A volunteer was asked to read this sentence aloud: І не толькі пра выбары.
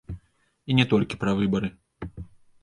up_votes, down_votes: 2, 0